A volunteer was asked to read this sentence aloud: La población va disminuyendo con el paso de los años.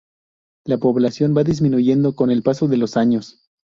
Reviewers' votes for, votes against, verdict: 4, 0, accepted